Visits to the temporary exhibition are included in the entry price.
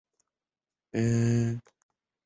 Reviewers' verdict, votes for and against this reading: rejected, 0, 2